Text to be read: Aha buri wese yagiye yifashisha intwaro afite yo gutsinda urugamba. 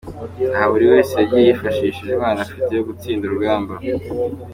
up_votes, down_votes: 2, 1